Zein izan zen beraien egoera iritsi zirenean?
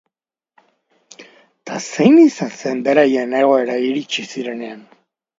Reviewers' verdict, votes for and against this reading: accepted, 2, 0